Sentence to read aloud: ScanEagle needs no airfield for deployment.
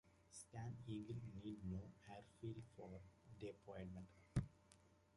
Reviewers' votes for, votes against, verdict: 0, 2, rejected